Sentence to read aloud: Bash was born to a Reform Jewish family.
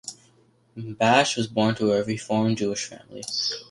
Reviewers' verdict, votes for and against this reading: accepted, 2, 1